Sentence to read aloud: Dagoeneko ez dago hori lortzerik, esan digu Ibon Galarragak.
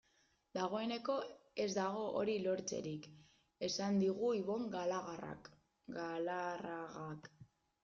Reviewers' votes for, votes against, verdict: 0, 2, rejected